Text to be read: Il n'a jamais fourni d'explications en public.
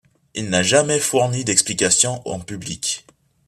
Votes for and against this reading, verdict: 2, 0, accepted